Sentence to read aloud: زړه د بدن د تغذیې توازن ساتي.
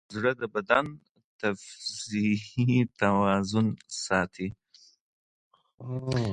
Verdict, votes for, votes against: rejected, 2, 4